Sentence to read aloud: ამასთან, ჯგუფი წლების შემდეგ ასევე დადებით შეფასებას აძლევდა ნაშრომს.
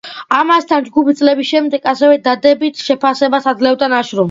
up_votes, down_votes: 2, 1